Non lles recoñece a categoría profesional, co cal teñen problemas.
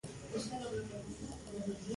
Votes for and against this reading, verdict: 0, 2, rejected